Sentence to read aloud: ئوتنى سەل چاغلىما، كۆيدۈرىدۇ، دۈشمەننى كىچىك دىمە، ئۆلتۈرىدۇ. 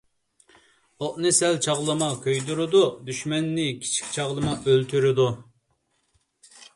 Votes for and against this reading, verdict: 0, 2, rejected